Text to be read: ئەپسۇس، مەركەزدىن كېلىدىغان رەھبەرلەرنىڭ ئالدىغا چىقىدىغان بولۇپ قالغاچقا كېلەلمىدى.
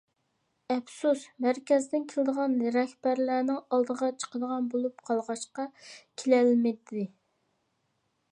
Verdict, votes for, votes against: rejected, 1, 2